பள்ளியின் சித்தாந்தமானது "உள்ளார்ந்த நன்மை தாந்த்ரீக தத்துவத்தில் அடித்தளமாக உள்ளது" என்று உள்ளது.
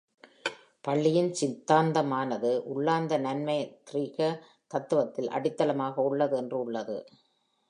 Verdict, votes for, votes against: rejected, 1, 2